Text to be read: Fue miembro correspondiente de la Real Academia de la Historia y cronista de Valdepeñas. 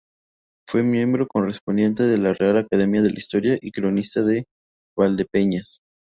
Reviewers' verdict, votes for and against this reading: rejected, 2, 2